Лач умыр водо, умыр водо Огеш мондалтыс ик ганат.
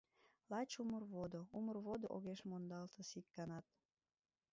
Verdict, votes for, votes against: rejected, 1, 2